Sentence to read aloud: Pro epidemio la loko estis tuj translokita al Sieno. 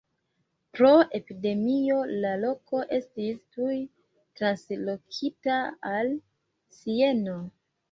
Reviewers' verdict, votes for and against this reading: rejected, 1, 2